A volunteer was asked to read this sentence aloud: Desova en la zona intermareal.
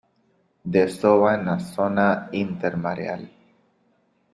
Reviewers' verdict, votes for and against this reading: accepted, 4, 1